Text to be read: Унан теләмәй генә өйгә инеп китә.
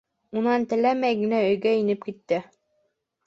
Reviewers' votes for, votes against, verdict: 1, 2, rejected